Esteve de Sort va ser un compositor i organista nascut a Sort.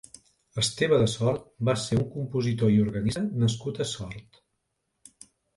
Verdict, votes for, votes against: rejected, 1, 2